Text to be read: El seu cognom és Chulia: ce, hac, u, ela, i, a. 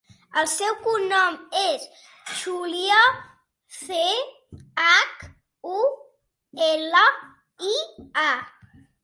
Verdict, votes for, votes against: accepted, 2, 0